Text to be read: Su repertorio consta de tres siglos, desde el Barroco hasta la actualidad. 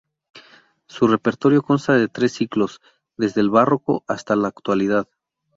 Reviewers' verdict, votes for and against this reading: rejected, 0, 2